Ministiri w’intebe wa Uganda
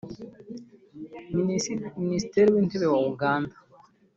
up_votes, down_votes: 0, 2